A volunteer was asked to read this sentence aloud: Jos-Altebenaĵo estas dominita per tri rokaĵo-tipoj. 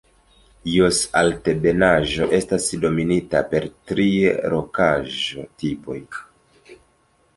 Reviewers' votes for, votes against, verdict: 0, 2, rejected